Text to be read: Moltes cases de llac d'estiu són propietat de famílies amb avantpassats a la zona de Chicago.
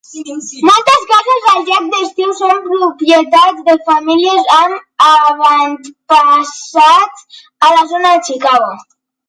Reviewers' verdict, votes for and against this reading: rejected, 0, 2